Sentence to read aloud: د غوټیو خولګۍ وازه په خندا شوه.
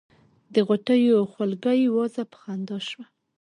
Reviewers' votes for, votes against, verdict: 1, 2, rejected